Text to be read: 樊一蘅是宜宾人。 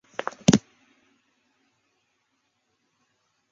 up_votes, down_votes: 0, 3